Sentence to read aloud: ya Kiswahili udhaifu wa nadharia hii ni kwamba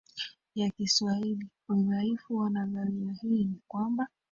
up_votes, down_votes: 1, 2